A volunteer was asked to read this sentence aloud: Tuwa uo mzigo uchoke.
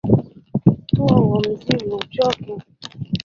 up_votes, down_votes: 1, 2